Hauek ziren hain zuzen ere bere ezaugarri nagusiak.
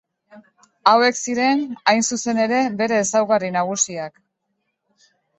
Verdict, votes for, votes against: accepted, 2, 0